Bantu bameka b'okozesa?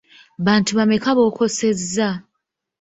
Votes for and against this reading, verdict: 1, 2, rejected